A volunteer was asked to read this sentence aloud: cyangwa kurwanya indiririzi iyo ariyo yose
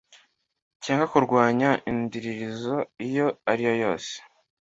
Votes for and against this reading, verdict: 2, 1, accepted